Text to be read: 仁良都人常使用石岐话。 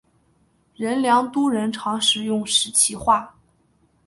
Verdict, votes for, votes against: accepted, 2, 0